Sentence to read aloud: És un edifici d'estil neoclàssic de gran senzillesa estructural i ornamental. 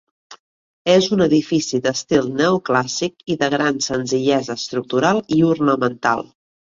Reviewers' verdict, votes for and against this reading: rejected, 1, 2